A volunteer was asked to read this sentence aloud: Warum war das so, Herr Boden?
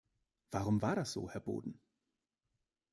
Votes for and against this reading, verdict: 2, 0, accepted